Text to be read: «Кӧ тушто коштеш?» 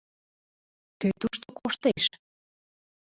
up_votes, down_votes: 1, 2